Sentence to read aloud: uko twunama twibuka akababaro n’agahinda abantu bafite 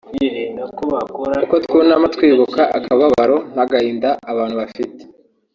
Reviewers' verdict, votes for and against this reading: rejected, 1, 2